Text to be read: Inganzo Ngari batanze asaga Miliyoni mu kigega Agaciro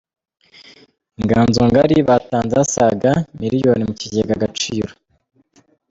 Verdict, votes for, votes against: accepted, 2, 0